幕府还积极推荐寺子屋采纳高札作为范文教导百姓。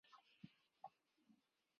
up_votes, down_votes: 0, 2